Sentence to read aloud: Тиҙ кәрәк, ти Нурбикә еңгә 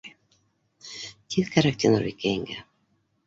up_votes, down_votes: 2, 1